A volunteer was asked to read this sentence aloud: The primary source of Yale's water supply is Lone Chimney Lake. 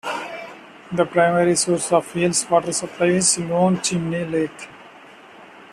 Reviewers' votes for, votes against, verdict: 2, 0, accepted